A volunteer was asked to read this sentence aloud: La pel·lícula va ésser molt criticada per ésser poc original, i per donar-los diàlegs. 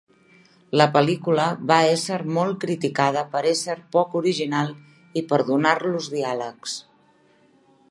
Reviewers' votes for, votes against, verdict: 3, 0, accepted